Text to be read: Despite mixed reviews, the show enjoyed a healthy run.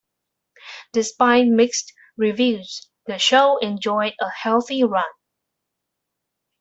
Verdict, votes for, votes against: accepted, 2, 0